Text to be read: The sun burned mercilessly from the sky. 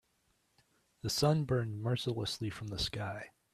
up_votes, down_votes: 3, 0